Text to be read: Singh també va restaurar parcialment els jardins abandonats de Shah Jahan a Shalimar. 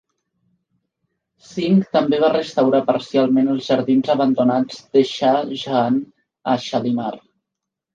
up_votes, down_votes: 2, 0